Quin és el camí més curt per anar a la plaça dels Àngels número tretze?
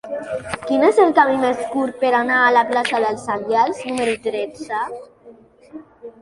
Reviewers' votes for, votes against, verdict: 1, 2, rejected